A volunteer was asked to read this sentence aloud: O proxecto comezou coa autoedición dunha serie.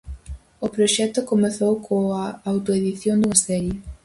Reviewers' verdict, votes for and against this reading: rejected, 2, 2